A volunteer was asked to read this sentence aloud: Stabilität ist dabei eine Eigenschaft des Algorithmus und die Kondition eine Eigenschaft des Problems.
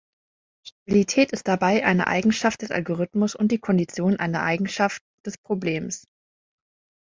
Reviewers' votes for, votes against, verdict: 1, 2, rejected